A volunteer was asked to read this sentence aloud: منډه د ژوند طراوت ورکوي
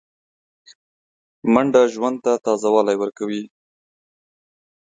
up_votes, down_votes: 0, 2